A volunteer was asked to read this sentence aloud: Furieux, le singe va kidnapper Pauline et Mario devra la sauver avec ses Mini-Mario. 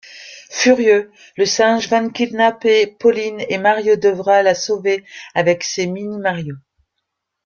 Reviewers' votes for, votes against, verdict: 0, 2, rejected